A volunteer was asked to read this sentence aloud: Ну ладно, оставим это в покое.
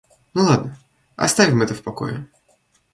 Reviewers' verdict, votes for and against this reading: accepted, 2, 1